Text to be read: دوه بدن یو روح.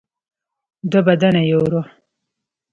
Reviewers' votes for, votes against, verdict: 2, 0, accepted